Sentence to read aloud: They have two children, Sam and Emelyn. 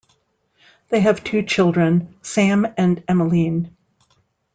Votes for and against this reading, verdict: 2, 0, accepted